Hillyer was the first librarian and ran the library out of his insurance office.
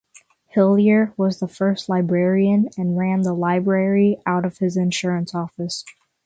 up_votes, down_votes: 6, 0